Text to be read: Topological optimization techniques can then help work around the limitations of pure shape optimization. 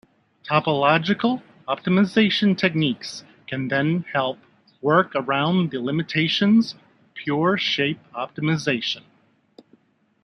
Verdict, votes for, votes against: rejected, 1, 2